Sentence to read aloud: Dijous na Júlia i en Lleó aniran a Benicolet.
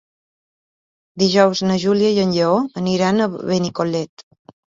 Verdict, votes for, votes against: accepted, 2, 0